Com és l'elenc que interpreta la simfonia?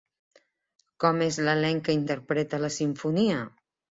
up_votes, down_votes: 2, 0